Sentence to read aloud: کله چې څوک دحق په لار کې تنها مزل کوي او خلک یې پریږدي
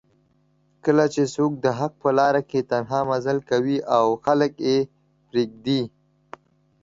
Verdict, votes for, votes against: accepted, 4, 1